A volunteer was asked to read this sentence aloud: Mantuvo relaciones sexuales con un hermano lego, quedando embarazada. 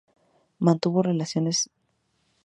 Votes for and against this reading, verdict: 0, 2, rejected